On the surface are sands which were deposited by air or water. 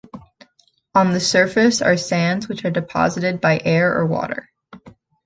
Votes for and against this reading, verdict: 2, 0, accepted